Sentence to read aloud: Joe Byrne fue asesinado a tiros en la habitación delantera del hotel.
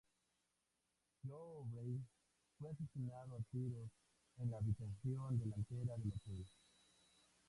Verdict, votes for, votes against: accepted, 2, 0